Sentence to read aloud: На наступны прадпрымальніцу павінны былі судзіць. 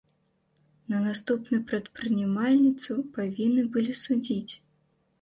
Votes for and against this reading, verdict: 1, 2, rejected